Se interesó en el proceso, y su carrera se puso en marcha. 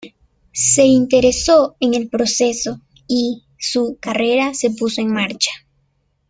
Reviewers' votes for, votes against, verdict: 1, 2, rejected